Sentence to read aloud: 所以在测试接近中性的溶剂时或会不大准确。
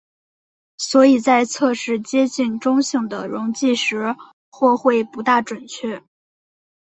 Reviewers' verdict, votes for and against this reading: accepted, 3, 0